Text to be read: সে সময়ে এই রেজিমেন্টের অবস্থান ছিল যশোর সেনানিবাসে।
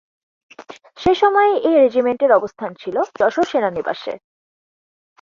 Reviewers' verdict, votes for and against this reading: rejected, 2, 4